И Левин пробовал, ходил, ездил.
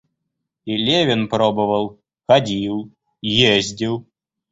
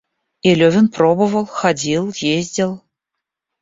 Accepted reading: first